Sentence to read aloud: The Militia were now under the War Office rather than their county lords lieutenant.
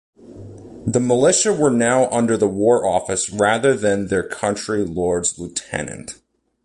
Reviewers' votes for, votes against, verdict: 1, 2, rejected